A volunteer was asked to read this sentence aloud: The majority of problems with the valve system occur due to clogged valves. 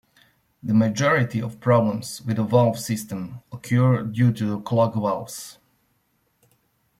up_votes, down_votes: 2, 0